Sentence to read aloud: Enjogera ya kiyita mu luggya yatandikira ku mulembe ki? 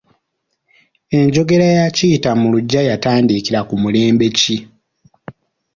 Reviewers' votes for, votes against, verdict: 2, 0, accepted